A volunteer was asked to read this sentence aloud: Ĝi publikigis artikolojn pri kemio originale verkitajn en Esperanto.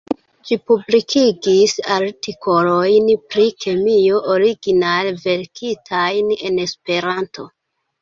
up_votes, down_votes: 0, 2